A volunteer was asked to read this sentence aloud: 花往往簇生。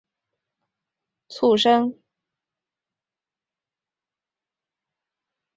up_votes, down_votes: 0, 3